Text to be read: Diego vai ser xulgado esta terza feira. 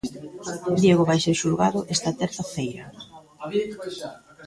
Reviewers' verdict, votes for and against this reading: rejected, 0, 2